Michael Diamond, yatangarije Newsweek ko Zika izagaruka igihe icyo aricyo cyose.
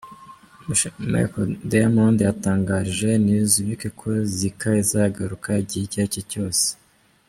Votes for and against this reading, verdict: 0, 2, rejected